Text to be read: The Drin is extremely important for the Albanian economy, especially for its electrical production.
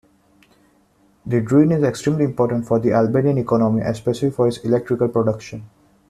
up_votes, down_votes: 2, 0